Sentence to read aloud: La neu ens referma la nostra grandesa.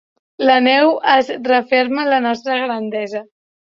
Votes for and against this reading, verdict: 1, 3, rejected